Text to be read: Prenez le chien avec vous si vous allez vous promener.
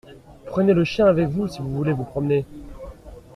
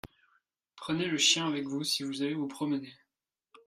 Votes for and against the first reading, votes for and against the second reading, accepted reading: 0, 2, 3, 0, second